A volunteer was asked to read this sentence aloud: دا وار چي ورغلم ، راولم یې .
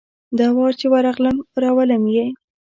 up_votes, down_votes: 2, 0